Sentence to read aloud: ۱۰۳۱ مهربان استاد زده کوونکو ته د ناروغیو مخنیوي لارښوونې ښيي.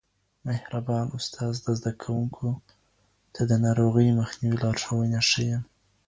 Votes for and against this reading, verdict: 0, 2, rejected